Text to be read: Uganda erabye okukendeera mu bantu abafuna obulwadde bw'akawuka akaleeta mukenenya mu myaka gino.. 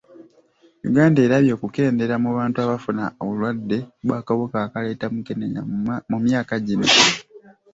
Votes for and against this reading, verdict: 1, 2, rejected